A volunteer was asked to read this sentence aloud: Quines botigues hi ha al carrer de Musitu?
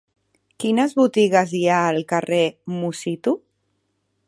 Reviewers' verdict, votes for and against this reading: rejected, 1, 2